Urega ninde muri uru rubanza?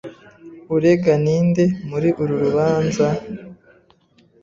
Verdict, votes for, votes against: accepted, 3, 0